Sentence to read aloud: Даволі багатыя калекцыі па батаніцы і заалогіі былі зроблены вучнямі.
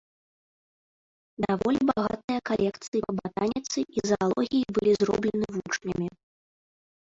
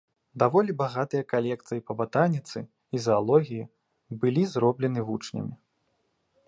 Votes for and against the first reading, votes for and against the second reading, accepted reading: 0, 2, 2, 0, second